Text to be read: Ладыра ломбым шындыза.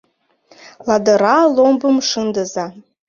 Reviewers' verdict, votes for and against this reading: accepted, 2, 0